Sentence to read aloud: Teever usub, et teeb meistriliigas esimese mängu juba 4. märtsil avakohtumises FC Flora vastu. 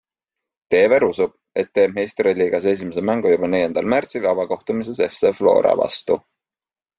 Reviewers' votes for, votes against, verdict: 0, 2, rejected